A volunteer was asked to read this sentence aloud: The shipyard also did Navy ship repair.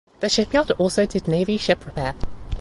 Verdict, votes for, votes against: accepted, 2, 0